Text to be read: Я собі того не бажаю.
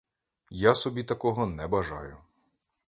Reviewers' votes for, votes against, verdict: 1, 2, rejected